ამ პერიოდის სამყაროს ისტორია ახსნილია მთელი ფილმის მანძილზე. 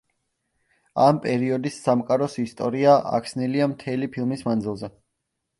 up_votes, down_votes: 2, 1